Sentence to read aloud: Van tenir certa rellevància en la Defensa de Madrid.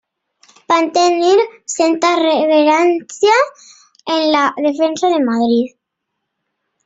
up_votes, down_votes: 1, 2